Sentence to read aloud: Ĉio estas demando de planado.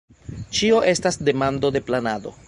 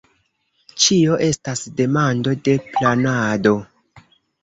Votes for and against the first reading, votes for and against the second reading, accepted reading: 2, 1, 0, 2, first